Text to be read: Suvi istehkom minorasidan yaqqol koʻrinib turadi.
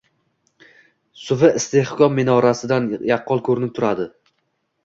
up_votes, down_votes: 1, 3